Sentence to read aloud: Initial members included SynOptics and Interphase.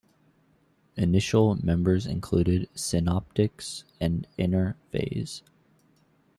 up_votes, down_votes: 0, 2